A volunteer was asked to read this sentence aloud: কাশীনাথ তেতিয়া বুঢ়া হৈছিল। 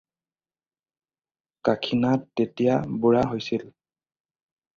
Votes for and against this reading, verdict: 4, 0, accepted